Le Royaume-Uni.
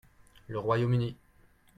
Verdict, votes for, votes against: accepted, 2, 0